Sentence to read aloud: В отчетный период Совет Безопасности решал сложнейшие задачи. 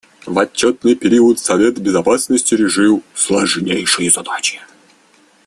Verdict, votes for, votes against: accepted, 2, 1